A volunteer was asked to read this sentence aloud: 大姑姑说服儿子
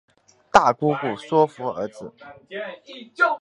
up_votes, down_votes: 2, 1